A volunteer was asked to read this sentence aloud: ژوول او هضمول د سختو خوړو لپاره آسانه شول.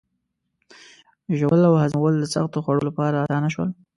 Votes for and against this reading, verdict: 2, 0, accepted